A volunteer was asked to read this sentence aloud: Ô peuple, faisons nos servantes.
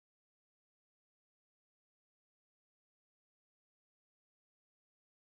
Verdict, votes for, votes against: rejected, 0, 2